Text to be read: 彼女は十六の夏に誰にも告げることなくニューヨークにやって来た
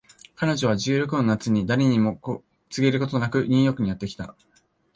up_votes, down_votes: 0, 2